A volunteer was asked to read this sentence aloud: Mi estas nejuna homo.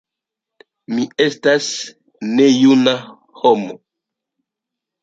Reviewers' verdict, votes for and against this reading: accepted, 2, 0